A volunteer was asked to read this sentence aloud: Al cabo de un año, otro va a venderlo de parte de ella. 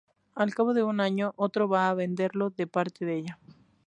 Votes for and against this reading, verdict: 2, 0, accepted